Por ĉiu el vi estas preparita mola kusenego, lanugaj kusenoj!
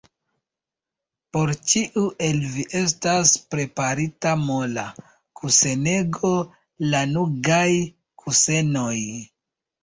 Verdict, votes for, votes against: accepted, 2, 0